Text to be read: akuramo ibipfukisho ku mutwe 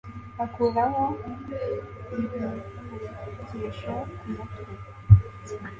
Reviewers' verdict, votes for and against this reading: rejected, 1, 2